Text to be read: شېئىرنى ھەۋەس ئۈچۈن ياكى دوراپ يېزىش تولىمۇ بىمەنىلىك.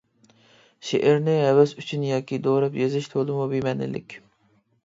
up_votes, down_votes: 2, 0